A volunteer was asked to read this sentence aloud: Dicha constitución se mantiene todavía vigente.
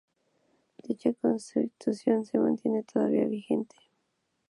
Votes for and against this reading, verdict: 0, 2, rejected